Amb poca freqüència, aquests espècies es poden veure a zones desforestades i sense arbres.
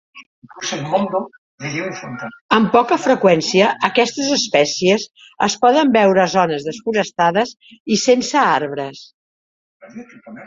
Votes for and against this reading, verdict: 0, 4, rejected